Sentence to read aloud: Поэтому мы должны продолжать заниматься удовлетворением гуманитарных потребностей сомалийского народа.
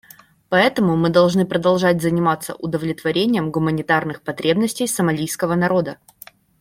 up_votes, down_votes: 2, 0